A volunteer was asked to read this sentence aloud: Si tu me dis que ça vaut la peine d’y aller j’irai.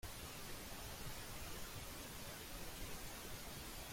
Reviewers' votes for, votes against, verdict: 0, 2, rejected